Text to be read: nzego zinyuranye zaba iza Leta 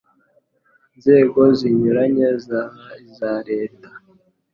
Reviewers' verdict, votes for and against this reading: accepted, 2, 0